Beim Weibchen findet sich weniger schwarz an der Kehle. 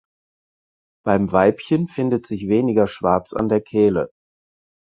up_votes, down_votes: 4, 0